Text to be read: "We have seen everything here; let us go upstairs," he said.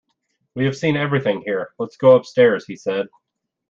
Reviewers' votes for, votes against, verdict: 0, 2, rejected